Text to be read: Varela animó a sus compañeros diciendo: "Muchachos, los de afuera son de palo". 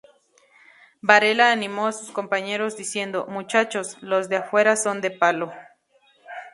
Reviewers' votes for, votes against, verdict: 2, 2, rejected